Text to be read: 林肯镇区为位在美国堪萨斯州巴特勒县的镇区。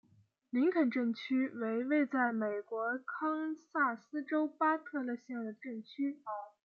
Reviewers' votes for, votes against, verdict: 2, 0, accepted